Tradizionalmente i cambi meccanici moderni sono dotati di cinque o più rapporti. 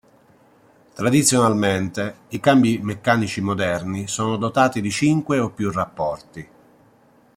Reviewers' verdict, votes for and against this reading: accepted, 3, 0